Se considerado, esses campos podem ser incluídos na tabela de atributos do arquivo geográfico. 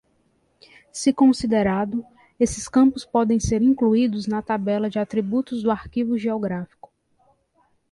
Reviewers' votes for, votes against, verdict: 2, 0, accepted